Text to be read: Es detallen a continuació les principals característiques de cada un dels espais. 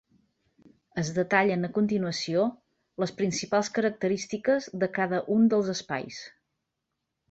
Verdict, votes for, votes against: accepted, 4, 0